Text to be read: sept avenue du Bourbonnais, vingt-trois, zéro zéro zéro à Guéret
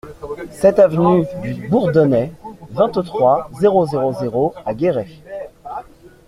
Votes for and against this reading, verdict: 1, 2, rejected